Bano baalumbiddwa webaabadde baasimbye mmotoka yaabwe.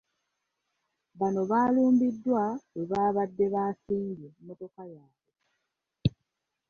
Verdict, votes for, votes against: accepted, 2, 0